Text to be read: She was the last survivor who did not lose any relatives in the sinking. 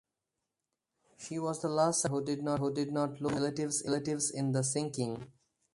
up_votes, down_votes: 0, 4